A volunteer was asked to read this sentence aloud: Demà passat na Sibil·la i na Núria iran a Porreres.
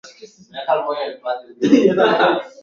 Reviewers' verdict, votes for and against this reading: rejected, 1, 2